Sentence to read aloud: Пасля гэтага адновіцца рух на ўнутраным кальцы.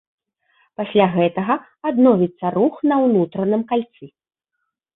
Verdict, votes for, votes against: accepted, 2, 0